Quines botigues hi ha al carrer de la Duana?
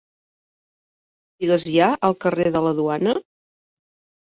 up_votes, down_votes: 0, 2